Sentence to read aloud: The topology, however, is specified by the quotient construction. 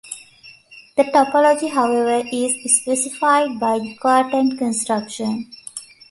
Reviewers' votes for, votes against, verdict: 2, 1, accepted